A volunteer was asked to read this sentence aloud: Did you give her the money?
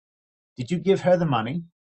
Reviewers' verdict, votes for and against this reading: accepted, 2, 0